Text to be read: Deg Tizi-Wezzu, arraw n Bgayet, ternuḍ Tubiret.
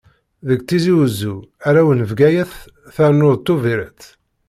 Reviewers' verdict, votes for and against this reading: accepted, 2, 0